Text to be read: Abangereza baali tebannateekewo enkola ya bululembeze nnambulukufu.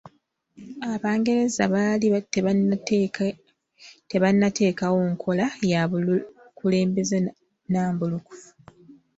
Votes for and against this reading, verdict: 0, 2, rejected